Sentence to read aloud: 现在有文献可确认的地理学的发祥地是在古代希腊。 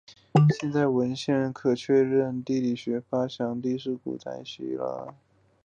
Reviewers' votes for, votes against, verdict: 3, 2, accepted